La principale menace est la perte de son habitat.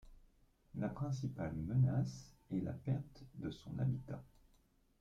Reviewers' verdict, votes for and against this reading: accepted, 2, 1